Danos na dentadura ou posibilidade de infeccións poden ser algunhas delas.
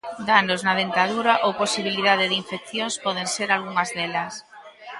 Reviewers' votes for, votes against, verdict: 2, 0, accepted